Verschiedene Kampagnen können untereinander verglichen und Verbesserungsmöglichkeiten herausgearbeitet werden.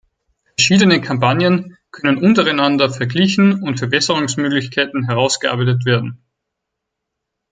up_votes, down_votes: 0, 4